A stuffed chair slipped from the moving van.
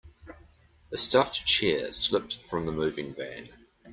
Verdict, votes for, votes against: accepted, 2, 0